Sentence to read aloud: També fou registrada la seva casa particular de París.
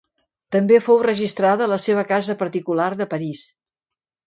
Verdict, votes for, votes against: accepted, 2, 0